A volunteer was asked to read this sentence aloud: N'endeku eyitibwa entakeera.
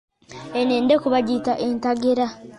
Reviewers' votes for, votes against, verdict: 0, 2, rejected